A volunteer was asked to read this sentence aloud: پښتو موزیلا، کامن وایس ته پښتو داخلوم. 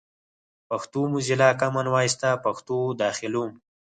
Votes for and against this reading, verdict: 4, 0, accepted